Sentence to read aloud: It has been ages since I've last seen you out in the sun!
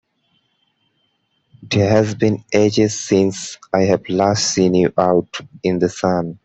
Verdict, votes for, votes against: rejected, 0, 2